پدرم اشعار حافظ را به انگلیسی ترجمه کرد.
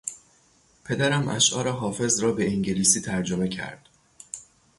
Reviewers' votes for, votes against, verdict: 3, 3, rejected